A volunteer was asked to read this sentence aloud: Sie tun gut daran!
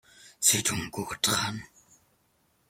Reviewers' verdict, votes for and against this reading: accepted, 2, 1